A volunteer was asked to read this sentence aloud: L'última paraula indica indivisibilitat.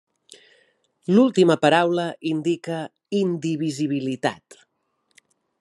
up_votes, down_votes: 3, 0